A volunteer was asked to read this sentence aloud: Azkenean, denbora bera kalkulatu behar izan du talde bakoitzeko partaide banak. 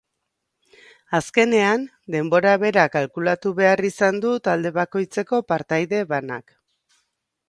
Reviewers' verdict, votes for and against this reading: accepted, 2, 0